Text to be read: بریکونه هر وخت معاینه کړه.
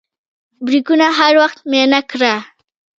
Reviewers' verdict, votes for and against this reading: rejected, 1, 2